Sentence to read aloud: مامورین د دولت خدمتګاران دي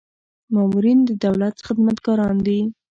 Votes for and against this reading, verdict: 2, 0, accepted